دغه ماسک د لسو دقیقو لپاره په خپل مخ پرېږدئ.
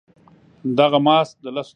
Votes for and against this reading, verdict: 0, 2, rejected